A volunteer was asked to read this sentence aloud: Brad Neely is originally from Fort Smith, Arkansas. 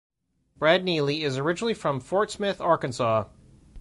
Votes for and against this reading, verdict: 2, 0, accepted